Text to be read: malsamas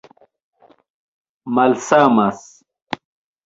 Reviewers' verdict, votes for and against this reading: accepted, 2, 1